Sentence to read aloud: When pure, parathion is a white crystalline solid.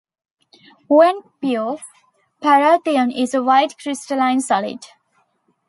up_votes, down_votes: 2, 0